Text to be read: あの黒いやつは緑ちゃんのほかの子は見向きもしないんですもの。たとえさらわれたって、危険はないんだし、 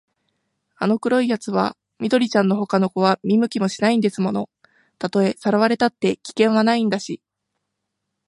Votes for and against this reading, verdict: 2, 0, accepted